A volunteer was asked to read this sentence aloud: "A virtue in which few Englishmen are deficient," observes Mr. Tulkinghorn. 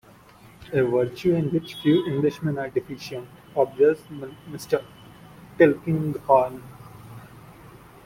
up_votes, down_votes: 0, 2